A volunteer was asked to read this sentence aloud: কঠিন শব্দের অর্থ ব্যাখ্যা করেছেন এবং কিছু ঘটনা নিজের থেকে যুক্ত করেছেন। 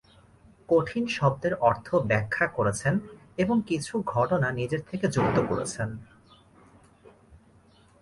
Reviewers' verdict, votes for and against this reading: accepted, 2, 0